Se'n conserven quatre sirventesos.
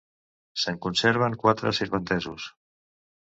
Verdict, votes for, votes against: accepted, 2, 0